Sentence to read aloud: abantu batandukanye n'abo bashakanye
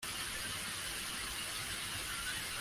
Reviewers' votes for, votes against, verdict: 0, 2, rejected